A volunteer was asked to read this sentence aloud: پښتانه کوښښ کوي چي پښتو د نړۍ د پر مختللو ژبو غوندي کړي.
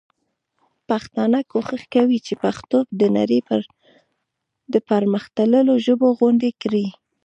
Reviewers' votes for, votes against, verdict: 2, 0, accepted